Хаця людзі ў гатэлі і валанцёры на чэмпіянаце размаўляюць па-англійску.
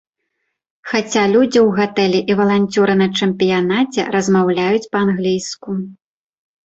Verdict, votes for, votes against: accepted, 2, 0